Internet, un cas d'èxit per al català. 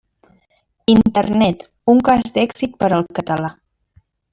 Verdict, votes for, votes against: rejected, 0, 2